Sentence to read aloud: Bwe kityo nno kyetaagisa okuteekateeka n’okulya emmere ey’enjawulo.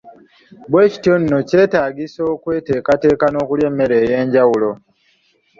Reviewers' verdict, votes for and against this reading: rejected, 0, 2